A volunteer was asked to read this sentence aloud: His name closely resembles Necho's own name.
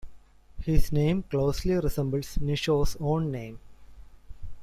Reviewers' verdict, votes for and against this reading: accepted, 2, 0